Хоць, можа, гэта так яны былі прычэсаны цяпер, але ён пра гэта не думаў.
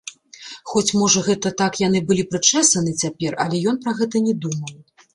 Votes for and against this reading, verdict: 1, 2, rejected